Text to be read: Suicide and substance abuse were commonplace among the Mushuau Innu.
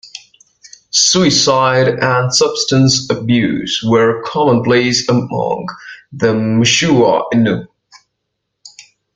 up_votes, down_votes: 2, 0